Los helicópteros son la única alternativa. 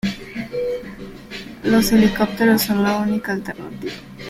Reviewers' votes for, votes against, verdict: 3, 0, accepted